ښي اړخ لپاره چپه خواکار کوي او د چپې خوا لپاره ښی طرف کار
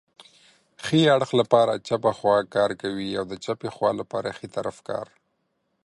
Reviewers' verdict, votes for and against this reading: accepted, 2, 0